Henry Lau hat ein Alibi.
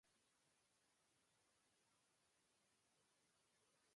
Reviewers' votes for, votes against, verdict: 0, 2, rejected